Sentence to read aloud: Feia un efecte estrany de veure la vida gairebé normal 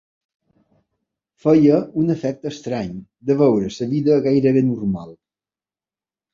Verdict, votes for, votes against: rejected, 0, 2